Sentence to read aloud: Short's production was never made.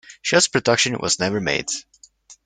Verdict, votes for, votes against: rejected, 0, 2